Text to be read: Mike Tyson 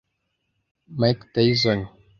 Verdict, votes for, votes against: accepted, 2, 0